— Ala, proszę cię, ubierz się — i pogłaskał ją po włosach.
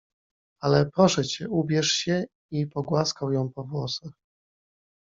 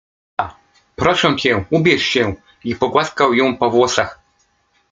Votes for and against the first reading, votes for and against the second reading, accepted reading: 2, 0, 1, 2, first